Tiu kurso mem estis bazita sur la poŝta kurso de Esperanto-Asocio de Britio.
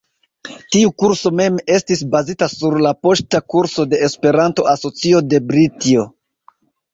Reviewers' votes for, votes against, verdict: 0, 2, rejected